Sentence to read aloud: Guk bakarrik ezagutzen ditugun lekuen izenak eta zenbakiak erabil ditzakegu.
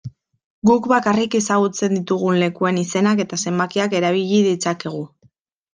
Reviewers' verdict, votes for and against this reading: rejected, 0, 2